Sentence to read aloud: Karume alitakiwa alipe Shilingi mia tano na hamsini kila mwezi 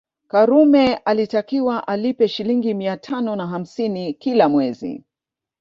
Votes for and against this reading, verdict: 5, 0, accepted